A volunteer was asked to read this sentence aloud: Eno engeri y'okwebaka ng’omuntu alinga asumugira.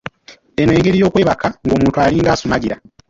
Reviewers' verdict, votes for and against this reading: rejected, 1, 2